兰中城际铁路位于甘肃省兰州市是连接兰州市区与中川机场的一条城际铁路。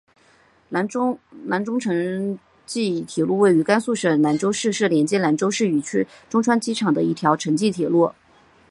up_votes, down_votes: 0, 2